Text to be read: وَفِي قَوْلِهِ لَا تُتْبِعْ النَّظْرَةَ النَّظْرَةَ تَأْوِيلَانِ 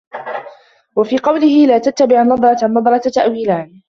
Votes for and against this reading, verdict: 2, 1, accepted